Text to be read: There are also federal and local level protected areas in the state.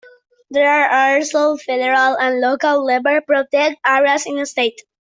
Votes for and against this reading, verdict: 0, 2, rejected